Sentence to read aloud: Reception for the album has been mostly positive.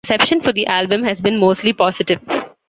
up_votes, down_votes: 0, 2